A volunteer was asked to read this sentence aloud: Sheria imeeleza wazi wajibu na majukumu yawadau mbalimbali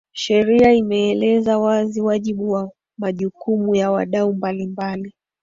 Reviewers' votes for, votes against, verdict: 2, 1, accepted